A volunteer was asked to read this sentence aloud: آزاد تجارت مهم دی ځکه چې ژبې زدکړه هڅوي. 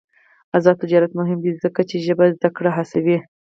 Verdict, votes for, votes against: rejected, 2, 4